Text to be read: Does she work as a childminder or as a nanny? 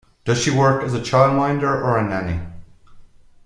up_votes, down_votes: 1, 2